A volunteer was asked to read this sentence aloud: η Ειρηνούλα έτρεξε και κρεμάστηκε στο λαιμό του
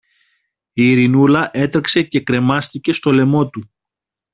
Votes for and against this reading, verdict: 2, 0, accepted